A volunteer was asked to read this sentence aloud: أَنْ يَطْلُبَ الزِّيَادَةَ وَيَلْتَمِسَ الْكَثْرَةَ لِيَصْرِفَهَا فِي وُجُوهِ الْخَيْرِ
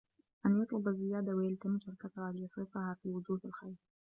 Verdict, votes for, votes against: rejected, 0, 2